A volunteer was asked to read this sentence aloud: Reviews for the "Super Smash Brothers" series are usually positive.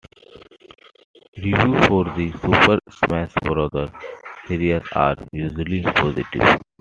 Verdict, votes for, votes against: accepted, 2, 0